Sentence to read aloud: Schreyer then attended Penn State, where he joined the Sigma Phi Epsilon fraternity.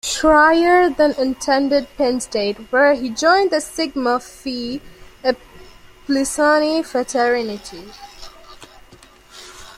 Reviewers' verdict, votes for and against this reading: rejected, 0, 2